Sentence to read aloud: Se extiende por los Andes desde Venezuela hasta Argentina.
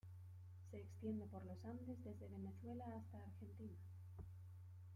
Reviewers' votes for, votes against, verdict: 1, 2, rejected